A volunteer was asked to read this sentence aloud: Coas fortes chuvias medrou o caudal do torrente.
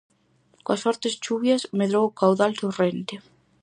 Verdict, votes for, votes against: rejected, 0, 4